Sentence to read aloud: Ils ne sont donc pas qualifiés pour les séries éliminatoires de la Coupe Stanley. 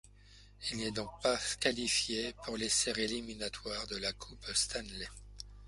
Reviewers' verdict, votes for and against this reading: rejected, 0, 2